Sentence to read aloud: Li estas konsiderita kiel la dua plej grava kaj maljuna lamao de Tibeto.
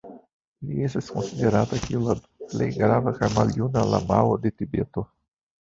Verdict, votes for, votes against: rejected, 0, 2